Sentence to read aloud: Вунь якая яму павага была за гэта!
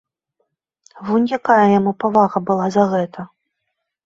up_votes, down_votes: 2, 0